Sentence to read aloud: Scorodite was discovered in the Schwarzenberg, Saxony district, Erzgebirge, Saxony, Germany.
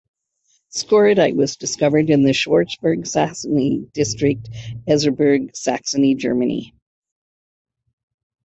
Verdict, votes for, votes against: accepted, 2, 0